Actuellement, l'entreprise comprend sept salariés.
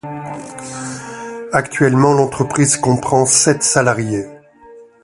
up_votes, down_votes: 1, 2